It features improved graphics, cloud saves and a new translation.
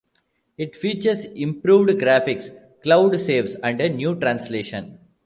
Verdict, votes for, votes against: accepted, 2, 0